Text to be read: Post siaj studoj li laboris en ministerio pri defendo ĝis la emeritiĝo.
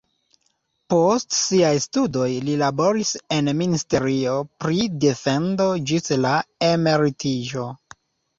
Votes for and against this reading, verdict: 2, 1, accepted